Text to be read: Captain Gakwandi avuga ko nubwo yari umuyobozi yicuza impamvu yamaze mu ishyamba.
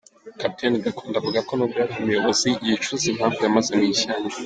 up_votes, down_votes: 2, 0